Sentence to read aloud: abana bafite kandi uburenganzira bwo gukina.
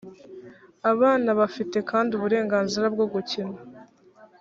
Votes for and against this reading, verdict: 3, 0, accepted